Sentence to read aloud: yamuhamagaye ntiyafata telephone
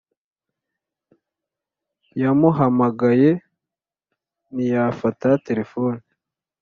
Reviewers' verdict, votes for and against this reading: accepted, 2, 0